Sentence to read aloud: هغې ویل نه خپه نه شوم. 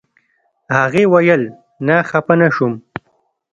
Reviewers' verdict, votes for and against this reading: rejected, 1, 2